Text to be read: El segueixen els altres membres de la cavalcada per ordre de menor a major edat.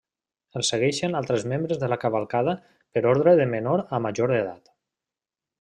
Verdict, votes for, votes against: rejected, 1, 2